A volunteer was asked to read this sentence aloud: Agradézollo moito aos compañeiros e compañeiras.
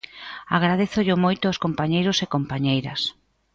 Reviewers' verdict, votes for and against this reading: accepted, 2, 0